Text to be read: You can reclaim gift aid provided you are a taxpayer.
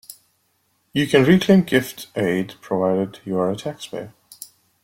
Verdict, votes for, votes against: accepted, 2, 0